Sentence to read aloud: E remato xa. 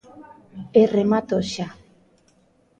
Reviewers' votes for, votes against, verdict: 1, 2, rejected